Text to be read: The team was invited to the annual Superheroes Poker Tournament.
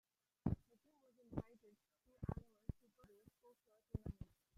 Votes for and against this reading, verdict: 0, 2, rejected